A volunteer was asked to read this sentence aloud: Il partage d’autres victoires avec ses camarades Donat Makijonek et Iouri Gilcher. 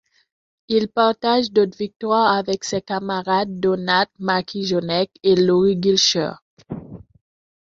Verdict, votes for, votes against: rejected, 1, 2